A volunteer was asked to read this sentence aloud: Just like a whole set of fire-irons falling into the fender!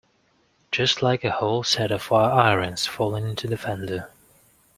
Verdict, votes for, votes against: accepted, 2, 0